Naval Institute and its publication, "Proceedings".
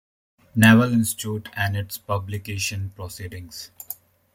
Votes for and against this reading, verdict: 2, 1, accepted